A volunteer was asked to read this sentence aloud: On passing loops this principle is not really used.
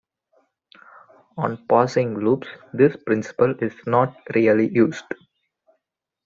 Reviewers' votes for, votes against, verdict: 2, 0, accepted